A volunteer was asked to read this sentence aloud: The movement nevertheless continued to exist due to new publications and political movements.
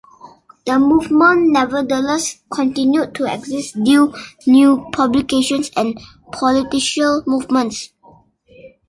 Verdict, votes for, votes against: rejected, 0, 2